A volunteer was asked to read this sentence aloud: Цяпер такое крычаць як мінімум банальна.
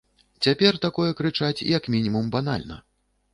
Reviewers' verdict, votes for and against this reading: accepted, 2, 0